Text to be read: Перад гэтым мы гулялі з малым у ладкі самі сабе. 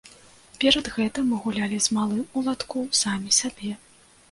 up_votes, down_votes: 0, 2